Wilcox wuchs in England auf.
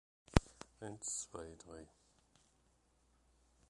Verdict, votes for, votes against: rejected, 0, 2